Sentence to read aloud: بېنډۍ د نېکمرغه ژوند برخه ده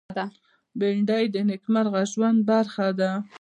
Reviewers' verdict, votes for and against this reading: accepted, 2, 0